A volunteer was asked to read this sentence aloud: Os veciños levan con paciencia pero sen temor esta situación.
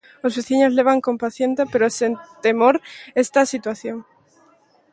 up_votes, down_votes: 0, 2